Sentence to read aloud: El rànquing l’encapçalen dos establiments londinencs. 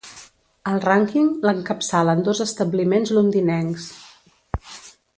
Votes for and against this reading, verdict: 2, 0, accepted